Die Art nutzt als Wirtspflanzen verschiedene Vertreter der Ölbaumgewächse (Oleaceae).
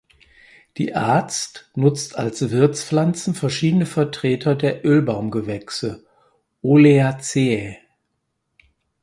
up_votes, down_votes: 0, 4